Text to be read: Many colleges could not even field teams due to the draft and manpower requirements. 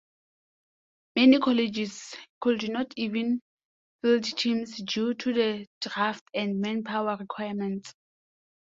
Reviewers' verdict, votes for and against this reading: accepted, 2, 0